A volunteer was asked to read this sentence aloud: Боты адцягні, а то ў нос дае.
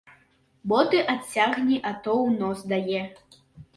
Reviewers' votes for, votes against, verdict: 2, 1, accepted